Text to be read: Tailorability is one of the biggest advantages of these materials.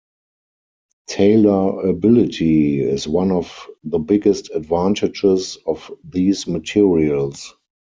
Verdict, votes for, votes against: rejected, 2, 4